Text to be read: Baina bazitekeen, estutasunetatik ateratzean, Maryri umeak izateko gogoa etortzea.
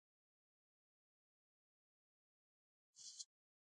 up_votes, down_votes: 0, 2